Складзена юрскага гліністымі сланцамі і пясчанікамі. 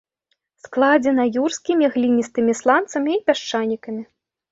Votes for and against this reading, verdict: 1, 3, rejected